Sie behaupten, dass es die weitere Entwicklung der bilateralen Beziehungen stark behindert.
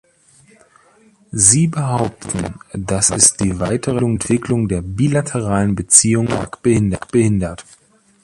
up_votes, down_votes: 0, 2